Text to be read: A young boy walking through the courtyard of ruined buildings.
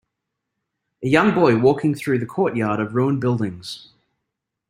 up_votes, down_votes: 2, 0